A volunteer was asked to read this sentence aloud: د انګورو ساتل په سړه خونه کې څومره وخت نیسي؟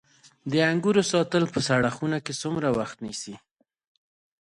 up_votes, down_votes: 1, 2